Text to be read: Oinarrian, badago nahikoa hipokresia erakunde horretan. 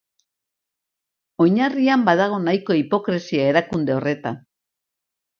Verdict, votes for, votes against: accepted, 2, 0